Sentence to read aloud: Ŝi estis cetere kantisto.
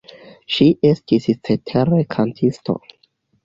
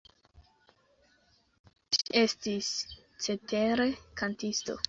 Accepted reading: first